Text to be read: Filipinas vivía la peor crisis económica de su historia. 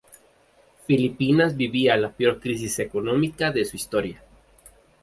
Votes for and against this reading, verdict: 2, 2, rejected